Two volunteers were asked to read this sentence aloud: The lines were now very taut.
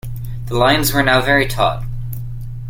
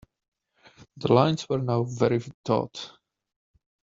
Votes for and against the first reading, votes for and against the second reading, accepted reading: 2, 0, 1, 2, first